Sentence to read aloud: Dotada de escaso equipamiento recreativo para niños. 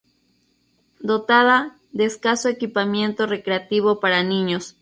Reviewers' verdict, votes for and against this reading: accepted, 2, 0